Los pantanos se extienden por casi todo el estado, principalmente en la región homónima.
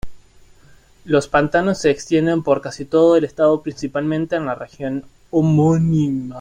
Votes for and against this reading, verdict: 2, 0, accepted